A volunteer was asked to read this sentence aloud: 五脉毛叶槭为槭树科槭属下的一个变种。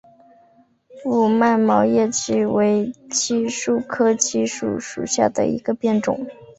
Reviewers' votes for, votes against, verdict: 3, 0, accepted